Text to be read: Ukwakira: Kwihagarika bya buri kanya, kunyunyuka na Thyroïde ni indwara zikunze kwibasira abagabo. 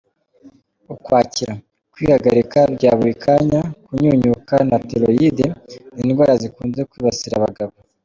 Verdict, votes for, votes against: accepted, 3, 1